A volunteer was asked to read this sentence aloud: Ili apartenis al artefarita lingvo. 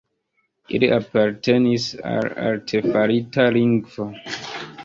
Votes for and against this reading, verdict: 2, 1, accepted